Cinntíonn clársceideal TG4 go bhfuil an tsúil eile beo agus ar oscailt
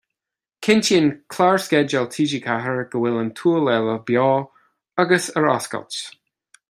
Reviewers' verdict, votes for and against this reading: rejected, 0, 2